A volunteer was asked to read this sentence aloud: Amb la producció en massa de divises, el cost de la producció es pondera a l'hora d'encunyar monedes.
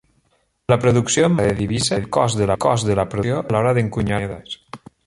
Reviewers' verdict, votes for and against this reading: rejected, 0, 2